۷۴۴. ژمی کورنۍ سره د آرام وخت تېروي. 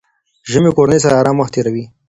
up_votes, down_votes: 0, 2